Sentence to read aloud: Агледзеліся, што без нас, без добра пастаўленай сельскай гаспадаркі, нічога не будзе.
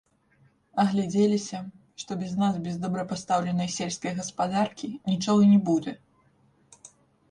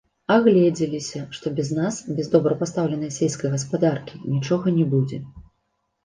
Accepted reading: second